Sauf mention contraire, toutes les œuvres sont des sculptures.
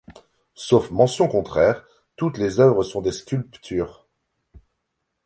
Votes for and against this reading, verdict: 0, 2, rejected